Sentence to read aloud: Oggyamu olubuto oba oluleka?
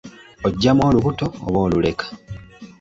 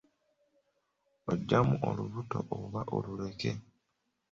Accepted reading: first